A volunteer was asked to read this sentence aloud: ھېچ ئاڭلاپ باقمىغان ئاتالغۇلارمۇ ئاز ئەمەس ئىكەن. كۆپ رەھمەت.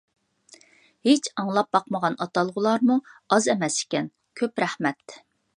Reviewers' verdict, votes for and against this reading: accepted, 2, 0